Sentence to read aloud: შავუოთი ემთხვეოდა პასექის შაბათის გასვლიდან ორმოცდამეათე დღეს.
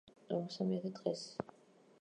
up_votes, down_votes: 0, 2